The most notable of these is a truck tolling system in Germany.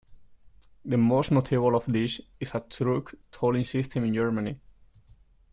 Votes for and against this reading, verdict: 2, 0, accepted